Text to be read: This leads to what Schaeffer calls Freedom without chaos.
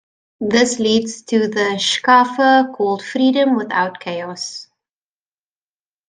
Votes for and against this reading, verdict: 0, 2, rejected